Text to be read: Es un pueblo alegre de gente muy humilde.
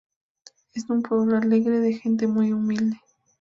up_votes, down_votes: 0, 2